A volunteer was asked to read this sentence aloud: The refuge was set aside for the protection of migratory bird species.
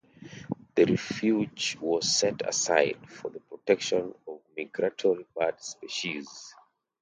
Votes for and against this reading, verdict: 1, 2, rejected